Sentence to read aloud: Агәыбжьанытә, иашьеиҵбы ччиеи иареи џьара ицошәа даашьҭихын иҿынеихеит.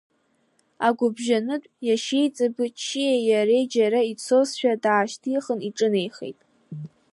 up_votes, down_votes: 2, 1